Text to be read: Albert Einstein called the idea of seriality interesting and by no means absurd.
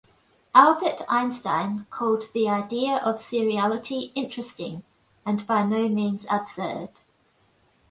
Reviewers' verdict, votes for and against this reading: accepted, 2, 1